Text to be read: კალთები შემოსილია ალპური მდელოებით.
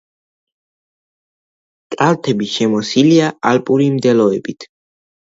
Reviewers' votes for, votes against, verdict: 2, 1, accepted